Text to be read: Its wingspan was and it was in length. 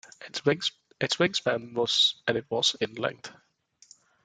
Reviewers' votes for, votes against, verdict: 0, 2, rejected